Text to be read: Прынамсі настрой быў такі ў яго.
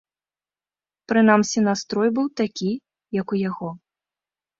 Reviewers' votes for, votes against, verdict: 0, 2, rejected